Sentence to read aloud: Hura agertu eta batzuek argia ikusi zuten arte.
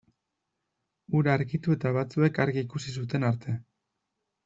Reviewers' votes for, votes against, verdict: 0, 2, rejected